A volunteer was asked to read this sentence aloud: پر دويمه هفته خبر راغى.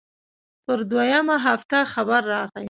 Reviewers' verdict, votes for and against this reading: accepted, 2, 0